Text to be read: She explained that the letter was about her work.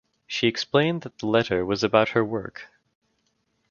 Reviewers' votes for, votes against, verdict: 2, 1, accepted